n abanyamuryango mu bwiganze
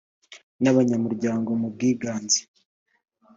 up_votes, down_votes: 2, 0